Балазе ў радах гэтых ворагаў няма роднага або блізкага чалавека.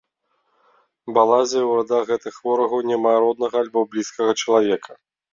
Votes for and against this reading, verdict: 2, 0, accepted